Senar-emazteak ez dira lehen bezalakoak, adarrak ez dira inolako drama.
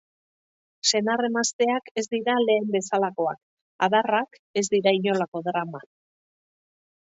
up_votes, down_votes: 2, 0